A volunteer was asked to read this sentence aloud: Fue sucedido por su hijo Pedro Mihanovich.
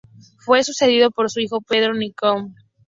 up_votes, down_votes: 0, 2